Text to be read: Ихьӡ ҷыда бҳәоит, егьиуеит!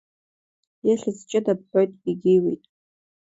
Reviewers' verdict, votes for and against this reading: accepted, 2, 1